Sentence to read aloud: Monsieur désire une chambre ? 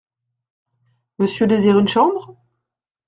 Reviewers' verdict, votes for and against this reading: accepted, 2, 0